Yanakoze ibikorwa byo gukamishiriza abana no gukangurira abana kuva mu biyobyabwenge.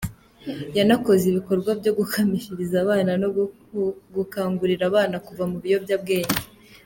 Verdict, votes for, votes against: accepted, 2, 1